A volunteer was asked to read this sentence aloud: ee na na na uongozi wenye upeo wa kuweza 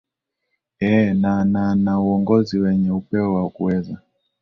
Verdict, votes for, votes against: accepted, 4, 1